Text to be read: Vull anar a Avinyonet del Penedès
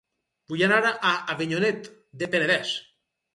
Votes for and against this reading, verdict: 2, 4, rejected